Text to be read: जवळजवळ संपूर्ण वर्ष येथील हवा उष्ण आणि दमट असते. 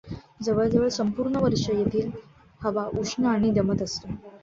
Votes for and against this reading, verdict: 2, 1, accepted